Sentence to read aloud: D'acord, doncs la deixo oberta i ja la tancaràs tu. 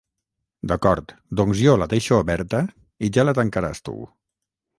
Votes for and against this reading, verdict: 3, 6, rejected